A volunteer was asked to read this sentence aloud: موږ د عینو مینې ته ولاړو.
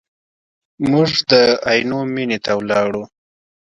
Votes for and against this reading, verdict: 2, 0, accepted